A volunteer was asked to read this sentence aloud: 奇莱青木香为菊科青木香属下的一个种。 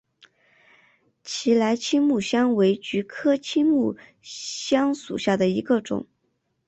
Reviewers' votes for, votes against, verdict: 5, 0, accepted